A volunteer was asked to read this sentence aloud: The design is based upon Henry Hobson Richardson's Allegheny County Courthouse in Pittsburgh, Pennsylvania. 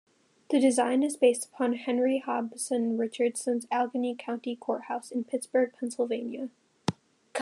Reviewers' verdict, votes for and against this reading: rejected, 1, 2